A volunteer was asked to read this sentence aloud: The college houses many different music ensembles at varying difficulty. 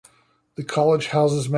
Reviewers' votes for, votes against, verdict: 0, 2, rejected